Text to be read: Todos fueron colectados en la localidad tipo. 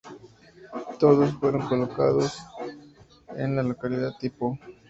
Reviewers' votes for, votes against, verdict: 2, 4, rejected